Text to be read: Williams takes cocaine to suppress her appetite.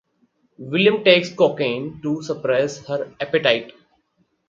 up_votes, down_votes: 0, 4